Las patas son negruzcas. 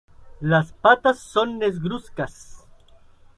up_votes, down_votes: 0, 2